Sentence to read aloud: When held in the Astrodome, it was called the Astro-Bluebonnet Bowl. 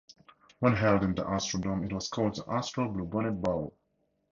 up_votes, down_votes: 4, 2